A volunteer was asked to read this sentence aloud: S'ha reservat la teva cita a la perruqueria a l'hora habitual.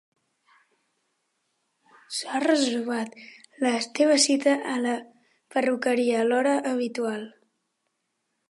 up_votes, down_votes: 0, 2